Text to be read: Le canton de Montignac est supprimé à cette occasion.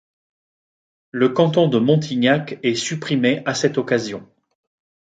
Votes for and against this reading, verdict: 2, 0, accepted